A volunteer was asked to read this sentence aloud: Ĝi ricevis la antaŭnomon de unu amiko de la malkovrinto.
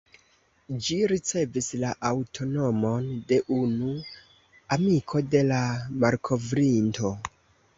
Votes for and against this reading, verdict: 1, 2, rejected